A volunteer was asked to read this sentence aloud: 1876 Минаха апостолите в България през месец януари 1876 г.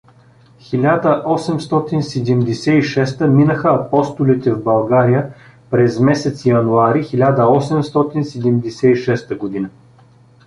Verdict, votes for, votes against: rejected, 0, 2